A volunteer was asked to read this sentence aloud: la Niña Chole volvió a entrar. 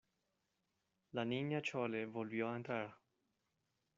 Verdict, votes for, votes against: accepted, 2, 0